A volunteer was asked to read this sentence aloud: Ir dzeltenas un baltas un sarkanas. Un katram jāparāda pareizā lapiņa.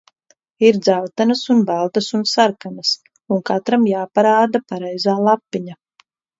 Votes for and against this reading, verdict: 2, 0, accepted